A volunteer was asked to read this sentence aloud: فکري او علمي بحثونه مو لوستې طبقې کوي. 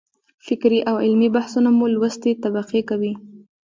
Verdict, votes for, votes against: accepted, 2, 1